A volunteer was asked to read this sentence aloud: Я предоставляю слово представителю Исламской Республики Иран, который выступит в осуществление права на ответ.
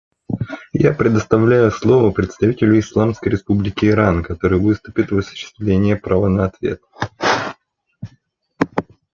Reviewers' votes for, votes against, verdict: 1, 2, rejected